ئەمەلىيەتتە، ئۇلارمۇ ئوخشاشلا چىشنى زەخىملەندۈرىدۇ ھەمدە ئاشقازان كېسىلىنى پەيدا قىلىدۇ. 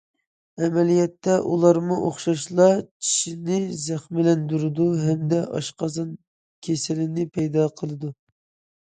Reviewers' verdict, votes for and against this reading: accepted, 2, 0